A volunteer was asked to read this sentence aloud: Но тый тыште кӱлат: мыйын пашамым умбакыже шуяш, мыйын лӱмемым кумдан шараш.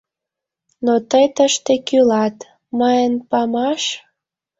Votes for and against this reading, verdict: 1, 2, rejected